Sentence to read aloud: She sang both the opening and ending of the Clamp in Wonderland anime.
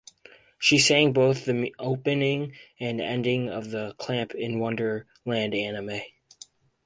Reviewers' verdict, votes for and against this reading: rejected, 2, 4